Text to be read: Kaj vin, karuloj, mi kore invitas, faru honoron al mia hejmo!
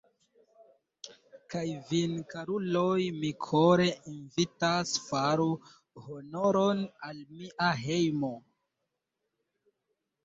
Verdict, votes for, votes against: accepted, 3, 0